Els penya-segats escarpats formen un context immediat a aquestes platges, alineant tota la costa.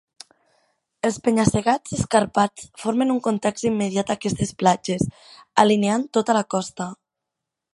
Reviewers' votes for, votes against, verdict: 5, 0, accepted